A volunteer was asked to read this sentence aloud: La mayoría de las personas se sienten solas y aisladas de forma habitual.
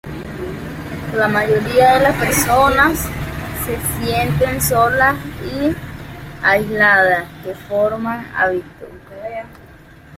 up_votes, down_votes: 0, 2